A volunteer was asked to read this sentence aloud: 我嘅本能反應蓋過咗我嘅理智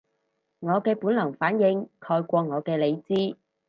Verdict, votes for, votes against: rejected, 2, 2